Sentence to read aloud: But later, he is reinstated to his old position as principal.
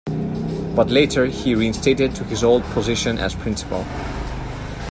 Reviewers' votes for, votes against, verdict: 1, 2, rejected